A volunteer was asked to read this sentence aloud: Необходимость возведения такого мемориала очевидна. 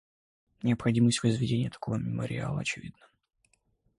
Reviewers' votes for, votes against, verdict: 2, 0, accepted